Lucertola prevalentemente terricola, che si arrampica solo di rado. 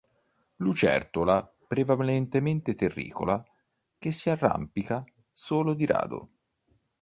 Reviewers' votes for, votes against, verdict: 2, 1, accepted